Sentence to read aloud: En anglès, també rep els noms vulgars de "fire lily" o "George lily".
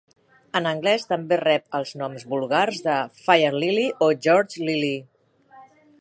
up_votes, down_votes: 2, 0